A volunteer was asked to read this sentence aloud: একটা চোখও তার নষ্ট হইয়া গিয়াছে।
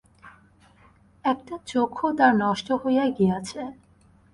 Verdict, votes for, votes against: rejected, 0, 2